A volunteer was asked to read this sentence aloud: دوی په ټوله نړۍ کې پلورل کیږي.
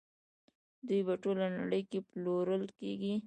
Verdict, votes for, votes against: rejected, 1, 2